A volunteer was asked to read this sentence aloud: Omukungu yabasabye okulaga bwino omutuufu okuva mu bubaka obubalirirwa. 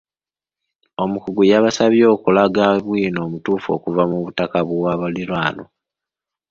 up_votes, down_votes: 1, 3